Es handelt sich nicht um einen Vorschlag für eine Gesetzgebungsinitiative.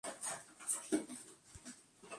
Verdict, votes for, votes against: rejected, 0, 4